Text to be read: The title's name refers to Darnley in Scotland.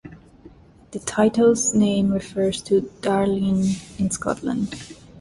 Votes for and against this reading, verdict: 2, 0, accepted